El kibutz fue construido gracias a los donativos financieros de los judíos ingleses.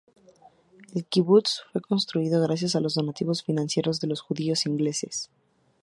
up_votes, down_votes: 2, 0